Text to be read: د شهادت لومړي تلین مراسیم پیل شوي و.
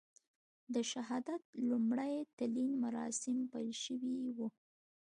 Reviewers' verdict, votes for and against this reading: accepted, 2, 0